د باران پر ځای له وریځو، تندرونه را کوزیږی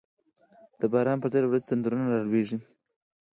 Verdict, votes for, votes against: accepted, 4, 0